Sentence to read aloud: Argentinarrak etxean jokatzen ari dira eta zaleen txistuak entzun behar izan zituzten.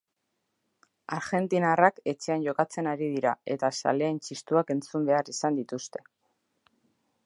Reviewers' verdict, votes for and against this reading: rejected, 0, 2